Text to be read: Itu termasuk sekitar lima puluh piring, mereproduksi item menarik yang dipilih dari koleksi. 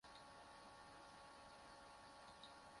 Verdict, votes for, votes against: rejected, 0, 2